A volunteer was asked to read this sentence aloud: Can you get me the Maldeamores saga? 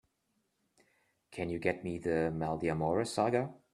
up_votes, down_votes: 2, 0